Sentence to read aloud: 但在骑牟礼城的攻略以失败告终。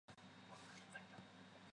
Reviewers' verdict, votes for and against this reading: rejected, 0, 3